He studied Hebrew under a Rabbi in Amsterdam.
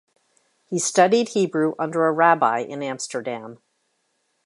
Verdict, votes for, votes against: accepted, 2, 0